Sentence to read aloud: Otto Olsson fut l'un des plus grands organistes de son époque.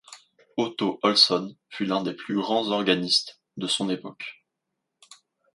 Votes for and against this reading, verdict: 2, 0, accepted